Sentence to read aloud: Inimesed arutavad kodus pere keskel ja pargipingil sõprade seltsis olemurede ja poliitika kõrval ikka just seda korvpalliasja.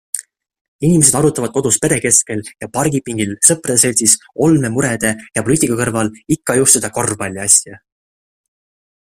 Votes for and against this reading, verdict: 2, 0, accepted